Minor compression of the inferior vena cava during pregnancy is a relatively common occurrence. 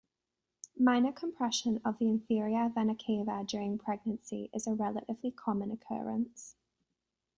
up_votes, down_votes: 2, 0